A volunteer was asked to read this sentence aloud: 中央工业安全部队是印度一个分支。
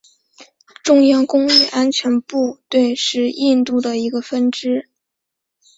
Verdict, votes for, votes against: accepted, 2, 1